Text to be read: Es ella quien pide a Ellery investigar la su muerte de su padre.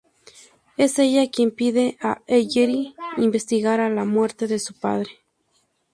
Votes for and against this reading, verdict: 0, 2, rejected